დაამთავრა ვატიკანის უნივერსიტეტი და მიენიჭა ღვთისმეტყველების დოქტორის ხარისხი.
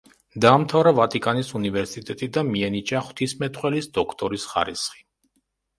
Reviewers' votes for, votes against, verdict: 0, 2, rejected